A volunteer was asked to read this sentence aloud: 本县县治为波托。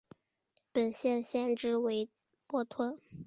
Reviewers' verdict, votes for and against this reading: accepted, 2, 0